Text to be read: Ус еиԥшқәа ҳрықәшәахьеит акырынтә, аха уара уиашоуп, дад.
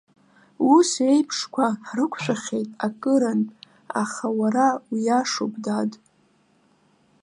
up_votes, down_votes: 2, 0